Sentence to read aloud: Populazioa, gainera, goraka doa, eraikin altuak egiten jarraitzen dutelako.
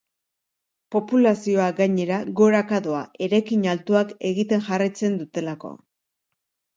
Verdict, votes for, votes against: accepted, 2, 0